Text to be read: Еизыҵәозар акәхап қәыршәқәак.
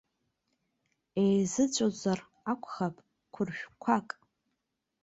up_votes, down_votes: 0, 2